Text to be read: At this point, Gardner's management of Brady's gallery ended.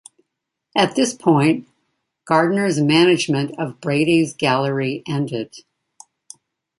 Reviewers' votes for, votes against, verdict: 2, 0, accepted